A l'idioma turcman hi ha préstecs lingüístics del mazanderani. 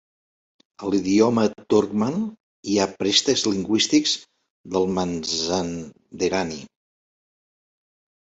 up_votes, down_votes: 1, 2